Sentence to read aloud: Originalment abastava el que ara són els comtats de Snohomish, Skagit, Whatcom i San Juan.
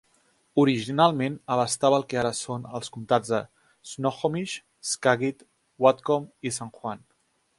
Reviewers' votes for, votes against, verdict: 2, 0, accepted